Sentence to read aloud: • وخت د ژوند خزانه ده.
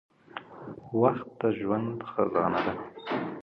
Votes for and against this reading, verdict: 2, 0, accepted